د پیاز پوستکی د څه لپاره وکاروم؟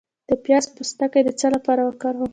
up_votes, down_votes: 0, 2